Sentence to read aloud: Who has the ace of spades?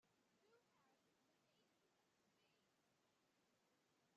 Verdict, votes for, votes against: rejected, 0, 2